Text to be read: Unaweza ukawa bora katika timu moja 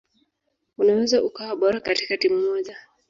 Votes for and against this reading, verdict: 0, 2, rejected